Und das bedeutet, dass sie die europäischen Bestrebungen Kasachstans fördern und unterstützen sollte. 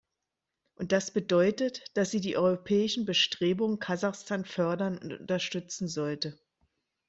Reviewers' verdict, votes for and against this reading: rejected, 1, 2